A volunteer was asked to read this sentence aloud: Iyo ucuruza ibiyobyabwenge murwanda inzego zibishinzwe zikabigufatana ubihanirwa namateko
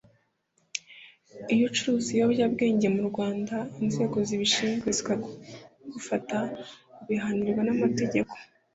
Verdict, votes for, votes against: rejected, 0, 2